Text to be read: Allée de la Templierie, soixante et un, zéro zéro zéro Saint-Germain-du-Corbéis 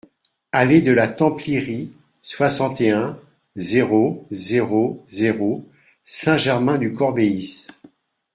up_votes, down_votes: 2, 0